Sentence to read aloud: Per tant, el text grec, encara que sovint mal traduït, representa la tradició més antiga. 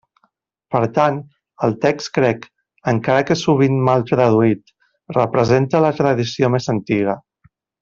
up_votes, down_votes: 0, 2